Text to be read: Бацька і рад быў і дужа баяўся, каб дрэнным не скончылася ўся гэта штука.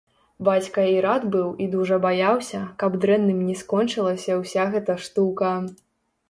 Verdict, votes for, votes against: rejected, 0, 2